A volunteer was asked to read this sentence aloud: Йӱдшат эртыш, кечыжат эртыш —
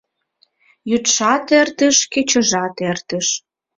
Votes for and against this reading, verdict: 2, 0, accepted